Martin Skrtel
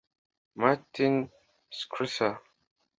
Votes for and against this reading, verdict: 2, 0, accepted